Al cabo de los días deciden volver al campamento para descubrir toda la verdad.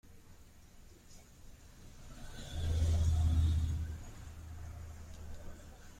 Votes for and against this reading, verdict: 0, 2, rejected